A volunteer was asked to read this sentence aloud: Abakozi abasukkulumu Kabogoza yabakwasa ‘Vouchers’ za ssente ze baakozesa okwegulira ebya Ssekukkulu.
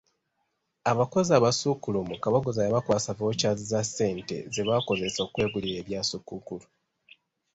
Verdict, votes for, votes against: accepted, 2, 0